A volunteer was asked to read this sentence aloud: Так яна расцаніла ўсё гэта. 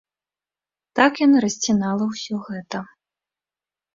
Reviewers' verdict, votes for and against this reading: rejected, 0, 2